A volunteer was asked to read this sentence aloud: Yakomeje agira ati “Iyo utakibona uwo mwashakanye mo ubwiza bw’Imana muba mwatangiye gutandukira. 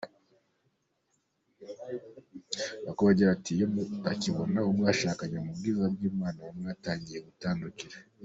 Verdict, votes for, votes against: rejected, 0, 2